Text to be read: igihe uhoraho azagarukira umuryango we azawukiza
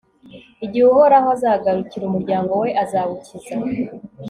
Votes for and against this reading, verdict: 2, 0, accepted